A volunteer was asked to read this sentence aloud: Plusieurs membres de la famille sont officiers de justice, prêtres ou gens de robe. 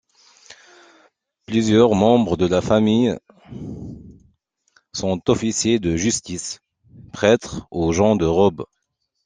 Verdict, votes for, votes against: accepted, 2, 0